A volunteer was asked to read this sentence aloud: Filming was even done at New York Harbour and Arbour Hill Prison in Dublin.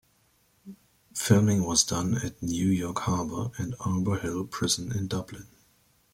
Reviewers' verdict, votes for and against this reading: rejected, 1, 2